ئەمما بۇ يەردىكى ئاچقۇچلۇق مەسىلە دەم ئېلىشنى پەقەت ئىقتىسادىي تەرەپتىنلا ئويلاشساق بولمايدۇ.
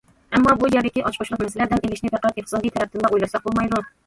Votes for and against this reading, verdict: 1, 2, rejected